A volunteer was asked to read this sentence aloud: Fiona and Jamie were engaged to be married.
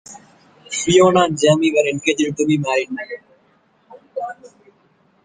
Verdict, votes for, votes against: rejected, 0, 2